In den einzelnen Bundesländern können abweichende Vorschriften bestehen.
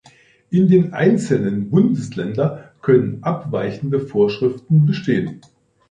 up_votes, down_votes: 2, 0